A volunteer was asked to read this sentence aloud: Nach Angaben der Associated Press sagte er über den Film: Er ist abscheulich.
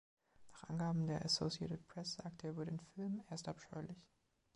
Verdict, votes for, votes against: rejected, 1, 2